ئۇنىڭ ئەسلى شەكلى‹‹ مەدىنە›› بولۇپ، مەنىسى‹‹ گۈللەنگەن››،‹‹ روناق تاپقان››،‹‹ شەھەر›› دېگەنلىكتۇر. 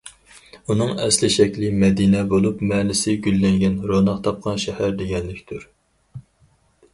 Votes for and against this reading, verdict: 0, 4, rejected